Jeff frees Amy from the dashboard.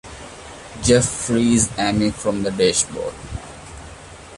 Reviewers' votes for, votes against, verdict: 2, 0, accepted